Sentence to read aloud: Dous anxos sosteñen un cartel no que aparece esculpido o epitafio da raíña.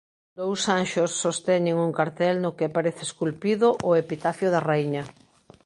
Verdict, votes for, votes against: accepted, 2, 0